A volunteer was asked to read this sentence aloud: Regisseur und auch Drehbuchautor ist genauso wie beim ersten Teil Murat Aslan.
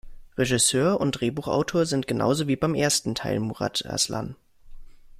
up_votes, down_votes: 0, 2